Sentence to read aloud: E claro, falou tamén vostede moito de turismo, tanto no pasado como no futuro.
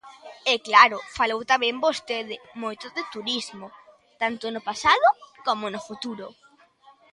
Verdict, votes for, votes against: accepted, 2, 0